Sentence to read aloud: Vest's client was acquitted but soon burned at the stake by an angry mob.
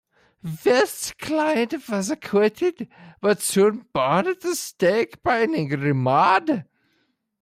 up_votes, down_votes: 0, 2